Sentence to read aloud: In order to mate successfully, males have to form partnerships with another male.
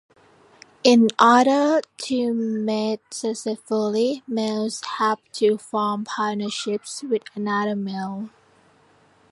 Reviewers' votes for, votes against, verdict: 2, 0, accepted